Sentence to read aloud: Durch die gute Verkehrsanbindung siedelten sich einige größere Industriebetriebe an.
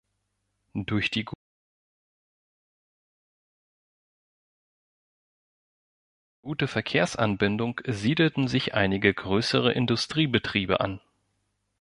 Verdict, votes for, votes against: rejected, 1, 2